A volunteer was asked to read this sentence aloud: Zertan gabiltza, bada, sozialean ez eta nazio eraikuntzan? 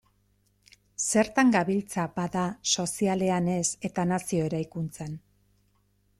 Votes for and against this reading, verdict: 2, 0, accepted